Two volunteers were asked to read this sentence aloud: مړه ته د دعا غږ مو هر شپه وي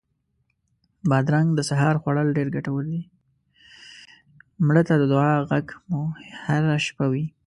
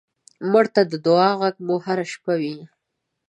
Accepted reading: second